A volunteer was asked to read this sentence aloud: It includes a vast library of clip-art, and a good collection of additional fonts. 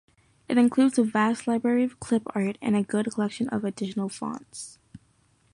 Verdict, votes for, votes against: accepted, 2, 0